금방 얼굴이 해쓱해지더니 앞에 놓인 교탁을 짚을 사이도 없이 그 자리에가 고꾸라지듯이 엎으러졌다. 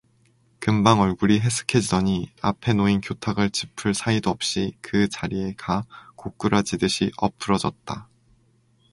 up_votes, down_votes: 2, 0